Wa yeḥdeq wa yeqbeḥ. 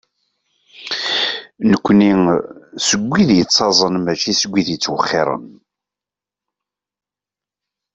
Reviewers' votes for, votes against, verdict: 0, 2, rejected